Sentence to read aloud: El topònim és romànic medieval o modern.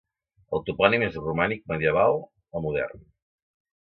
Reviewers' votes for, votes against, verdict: 2, 0, accepted